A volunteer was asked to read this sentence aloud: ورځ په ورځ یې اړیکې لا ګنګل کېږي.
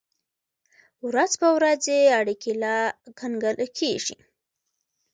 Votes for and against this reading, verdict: 1, 2, rejected